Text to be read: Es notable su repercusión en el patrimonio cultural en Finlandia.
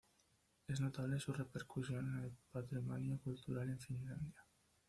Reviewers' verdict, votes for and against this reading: rejected, 1, 2